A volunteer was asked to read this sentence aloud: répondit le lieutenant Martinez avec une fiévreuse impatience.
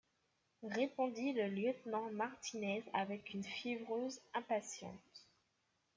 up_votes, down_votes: 2, 1